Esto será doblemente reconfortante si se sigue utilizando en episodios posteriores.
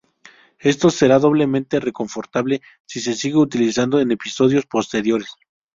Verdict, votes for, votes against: rejected, 2, 2